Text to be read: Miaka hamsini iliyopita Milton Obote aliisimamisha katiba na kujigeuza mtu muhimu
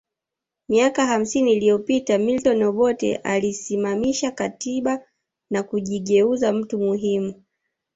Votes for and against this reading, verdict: 2, 0, accepted